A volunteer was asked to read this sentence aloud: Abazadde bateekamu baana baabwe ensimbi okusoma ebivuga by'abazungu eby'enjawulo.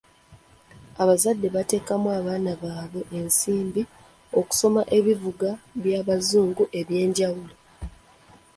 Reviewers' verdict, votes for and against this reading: accepted, 2, 0